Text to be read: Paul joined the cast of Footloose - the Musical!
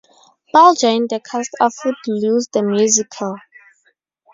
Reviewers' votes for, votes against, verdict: 0, 2, rejected